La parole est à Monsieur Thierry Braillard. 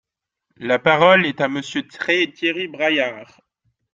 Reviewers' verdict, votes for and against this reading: rejected, 0, 2